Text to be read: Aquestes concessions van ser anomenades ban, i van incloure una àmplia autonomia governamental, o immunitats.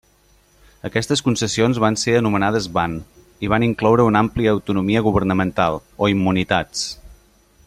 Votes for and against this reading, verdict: 2, 0, accepted